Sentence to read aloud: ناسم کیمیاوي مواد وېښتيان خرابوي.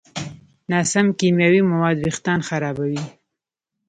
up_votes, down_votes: 2, 0